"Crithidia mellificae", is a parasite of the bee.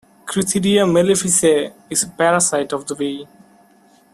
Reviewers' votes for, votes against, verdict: 2, 0, accepted